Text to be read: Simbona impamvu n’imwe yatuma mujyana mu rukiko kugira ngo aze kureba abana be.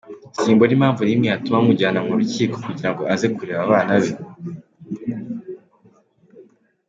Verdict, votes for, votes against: accepted, 2, 0